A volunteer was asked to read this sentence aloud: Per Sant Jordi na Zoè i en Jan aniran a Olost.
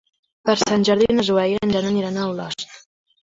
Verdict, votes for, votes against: accepted, 2, 0